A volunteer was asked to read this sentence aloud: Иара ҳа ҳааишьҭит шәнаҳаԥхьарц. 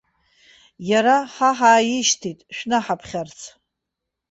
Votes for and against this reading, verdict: 2, 1, accepted